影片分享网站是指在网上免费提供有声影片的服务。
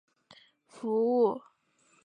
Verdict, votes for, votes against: rejected, 0, 4